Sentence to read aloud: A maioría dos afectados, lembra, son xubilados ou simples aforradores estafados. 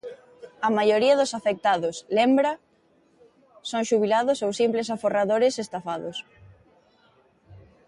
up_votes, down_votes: 2, 0